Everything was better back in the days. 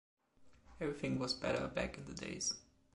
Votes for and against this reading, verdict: 1, 2, rejected